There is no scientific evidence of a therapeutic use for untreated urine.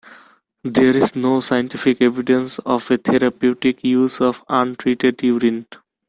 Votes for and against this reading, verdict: 1, 2, rejected